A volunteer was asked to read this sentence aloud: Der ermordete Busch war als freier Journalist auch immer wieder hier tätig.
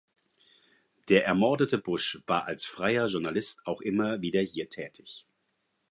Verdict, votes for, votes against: accepted, 4, 0